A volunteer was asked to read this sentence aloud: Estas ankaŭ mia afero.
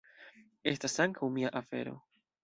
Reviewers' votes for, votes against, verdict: 1, 2, rejected